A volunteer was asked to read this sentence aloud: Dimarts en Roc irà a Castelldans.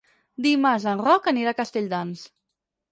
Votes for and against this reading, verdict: 0, 6, rejected